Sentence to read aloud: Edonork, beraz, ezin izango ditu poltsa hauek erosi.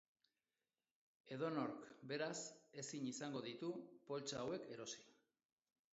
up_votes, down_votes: 1, 3